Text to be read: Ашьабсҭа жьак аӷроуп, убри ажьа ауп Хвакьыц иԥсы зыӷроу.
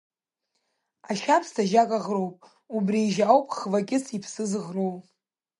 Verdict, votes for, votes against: accepted, 3, 0